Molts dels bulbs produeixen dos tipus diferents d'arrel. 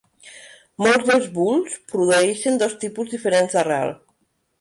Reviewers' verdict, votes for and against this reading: rejected, 0, 2